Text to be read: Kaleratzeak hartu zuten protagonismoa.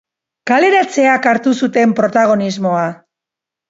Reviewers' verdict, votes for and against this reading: accepted, 3, 1